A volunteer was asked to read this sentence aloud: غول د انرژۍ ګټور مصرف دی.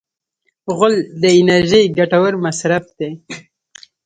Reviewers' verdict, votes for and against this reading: rejected, 1, 2